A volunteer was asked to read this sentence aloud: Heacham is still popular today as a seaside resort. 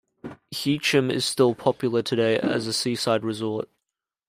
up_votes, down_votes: 2, 0